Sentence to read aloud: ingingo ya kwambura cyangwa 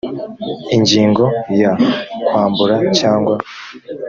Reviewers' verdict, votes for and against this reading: accepted, 4, 0